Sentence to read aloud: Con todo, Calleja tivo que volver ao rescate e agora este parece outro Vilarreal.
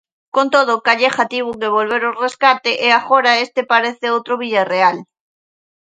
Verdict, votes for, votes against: rejected, 0, 2